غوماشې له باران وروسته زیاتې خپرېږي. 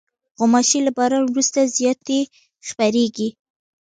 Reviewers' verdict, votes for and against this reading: rejected, 1, 2